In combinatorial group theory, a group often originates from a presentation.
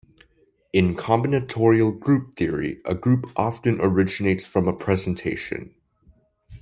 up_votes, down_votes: 2, 0